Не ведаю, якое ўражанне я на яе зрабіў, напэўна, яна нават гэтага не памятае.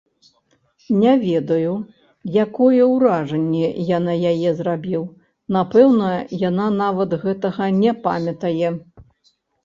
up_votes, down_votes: 1, 2